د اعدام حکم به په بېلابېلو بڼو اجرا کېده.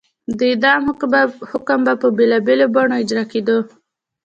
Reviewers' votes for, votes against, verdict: 2, 0, accepted